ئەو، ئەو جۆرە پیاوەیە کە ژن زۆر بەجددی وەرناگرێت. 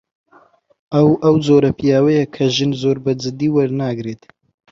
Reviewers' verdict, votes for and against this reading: accepted, 2, 0